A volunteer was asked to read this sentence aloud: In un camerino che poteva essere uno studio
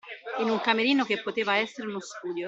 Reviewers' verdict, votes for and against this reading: accepted, 2, 0